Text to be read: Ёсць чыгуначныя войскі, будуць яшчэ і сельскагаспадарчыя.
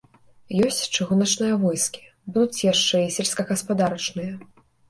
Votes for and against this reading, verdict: 1, 2, rejected